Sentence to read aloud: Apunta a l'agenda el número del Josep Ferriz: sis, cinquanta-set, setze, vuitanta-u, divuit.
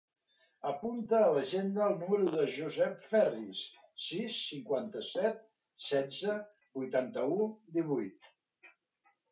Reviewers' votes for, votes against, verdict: 1, 3, rejected